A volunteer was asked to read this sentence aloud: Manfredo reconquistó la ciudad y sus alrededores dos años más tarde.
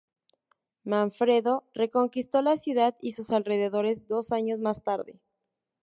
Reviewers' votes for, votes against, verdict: 0, 2, rejected